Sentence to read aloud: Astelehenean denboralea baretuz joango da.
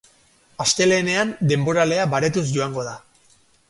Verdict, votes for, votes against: rejected, 0, 4